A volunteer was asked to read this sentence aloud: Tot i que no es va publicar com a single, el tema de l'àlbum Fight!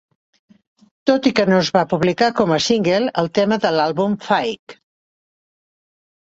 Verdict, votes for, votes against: accepted, 2, 0